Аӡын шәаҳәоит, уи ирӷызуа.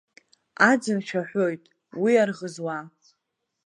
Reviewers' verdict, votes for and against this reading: rejected, 1, 2